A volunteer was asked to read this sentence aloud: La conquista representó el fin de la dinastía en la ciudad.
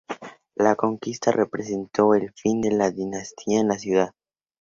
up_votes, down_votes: 4, 0